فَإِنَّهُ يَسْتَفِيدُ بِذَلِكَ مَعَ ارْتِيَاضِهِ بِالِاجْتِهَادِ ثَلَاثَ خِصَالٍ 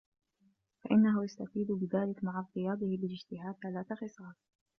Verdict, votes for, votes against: rejected, 1, 2